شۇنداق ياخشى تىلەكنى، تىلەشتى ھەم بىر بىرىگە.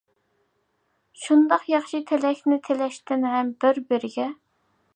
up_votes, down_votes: 2, 1